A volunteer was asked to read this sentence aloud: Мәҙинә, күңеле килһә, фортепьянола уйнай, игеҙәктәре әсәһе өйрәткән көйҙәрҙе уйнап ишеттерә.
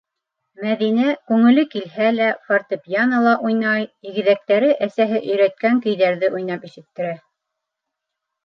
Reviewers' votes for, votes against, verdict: 0, 2, rejected